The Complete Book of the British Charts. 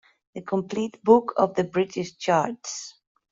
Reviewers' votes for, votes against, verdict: 1, 2, rejected